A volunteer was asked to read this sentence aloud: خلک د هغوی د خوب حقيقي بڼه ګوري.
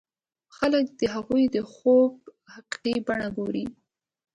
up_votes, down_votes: 1, 2